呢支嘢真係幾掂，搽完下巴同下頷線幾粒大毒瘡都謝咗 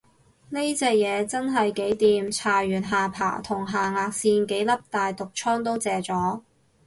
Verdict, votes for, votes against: rejected, 0, 2